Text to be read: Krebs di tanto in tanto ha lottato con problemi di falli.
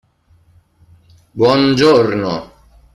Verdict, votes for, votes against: rejected, 0, 2